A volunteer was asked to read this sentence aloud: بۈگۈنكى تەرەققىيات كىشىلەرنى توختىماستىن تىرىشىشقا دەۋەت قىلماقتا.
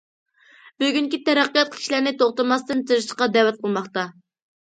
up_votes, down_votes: 2, 0